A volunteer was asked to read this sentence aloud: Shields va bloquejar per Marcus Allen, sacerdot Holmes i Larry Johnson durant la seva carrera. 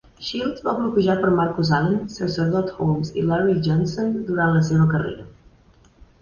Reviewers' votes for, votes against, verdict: 2, 0, accepted